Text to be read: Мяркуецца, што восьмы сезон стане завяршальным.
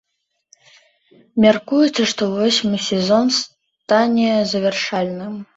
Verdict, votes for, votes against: accepted, 2, 0